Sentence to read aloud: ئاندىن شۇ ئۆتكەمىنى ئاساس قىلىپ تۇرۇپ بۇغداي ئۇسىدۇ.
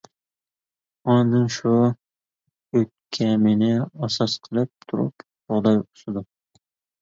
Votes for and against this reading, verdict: 1, 2, rejected